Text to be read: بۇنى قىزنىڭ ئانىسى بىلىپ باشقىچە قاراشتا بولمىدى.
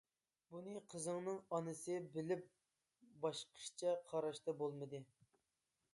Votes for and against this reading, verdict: 0, 2, rejected